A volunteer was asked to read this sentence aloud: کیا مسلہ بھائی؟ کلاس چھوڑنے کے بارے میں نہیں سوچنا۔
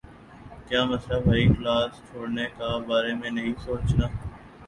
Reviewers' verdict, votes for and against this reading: rejected, 1, 2